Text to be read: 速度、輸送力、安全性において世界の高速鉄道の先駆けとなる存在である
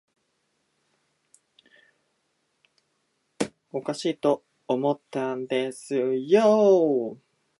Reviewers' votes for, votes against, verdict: 0, 2, rejected